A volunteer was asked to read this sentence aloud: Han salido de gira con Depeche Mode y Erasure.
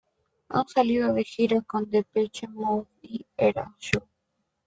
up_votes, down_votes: 1, 2